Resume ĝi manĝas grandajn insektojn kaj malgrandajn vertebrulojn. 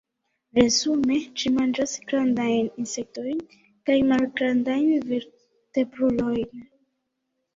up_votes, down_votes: 1, 2